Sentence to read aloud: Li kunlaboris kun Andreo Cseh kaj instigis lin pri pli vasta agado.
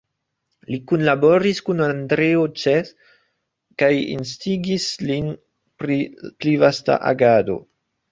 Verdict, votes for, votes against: rejected, 1, 2